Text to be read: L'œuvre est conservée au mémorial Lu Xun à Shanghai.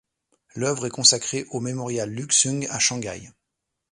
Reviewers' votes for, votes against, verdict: 1, 2, rejected